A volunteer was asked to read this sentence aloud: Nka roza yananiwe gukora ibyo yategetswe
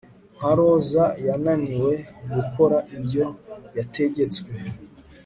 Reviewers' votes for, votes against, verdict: 2, 0, accepted